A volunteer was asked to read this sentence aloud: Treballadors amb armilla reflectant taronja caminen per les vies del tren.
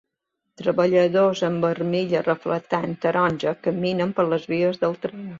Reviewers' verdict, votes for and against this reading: accepted, 2, 0